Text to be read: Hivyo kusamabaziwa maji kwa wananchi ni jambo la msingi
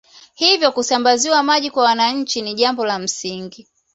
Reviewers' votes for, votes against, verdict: 2, 0, accepted